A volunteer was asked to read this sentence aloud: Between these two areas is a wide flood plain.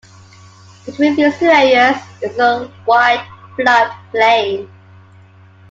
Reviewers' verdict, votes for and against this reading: accepted, 2, 1